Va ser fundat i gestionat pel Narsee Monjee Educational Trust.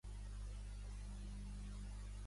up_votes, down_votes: 0, 2